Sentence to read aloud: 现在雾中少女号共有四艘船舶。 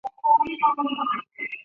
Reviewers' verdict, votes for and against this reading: rejected, 0, 2